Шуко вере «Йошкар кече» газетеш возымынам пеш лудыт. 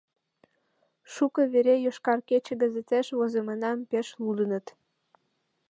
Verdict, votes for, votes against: rejected, 1, 2